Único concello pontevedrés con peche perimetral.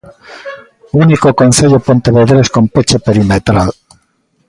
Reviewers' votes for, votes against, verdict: 2, 0, accepted